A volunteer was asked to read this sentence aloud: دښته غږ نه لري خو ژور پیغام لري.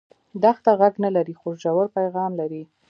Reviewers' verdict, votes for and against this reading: rejected, 0, 2